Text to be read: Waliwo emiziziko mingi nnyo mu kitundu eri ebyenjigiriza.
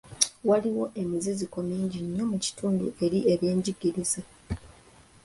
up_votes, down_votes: 2, 0